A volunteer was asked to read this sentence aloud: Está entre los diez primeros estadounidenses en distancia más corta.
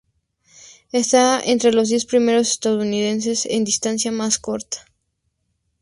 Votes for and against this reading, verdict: 2, 0, accepted